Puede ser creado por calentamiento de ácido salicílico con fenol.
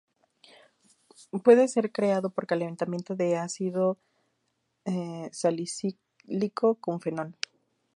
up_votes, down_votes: 2, 0